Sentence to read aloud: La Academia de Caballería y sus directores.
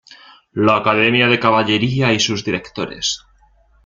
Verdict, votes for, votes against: accepted, 2, 0